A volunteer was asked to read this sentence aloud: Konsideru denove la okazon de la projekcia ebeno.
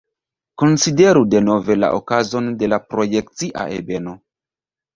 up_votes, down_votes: 2, 0